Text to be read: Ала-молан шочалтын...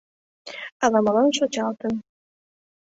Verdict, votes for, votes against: accepted, 2, 0